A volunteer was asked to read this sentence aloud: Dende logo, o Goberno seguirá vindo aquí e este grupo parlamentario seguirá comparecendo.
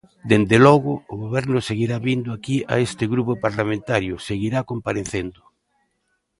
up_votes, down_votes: 1, 2